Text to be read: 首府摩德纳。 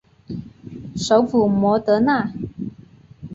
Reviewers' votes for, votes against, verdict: 5, 1, accepted